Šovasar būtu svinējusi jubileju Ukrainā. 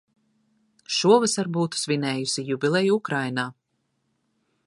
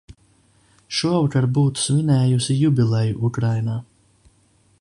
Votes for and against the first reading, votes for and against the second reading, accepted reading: 2, 0, 1, 2, first